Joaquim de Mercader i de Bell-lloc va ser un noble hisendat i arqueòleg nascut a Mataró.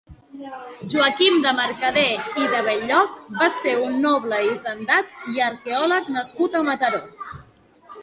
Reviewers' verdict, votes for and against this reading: accepted, 2, 0